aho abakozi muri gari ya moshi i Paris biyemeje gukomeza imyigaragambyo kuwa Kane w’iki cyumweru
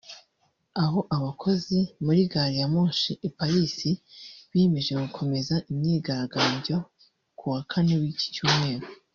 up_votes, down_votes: 0, 2